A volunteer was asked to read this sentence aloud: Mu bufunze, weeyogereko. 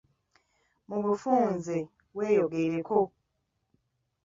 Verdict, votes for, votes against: rejected, 0, 2